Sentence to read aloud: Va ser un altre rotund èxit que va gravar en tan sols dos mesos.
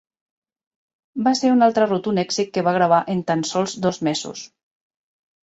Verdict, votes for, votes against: accepted, 2, 1